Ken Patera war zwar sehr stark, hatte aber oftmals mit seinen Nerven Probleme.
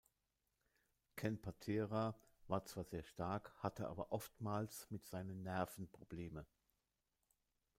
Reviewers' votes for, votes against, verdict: 2, 0, accepted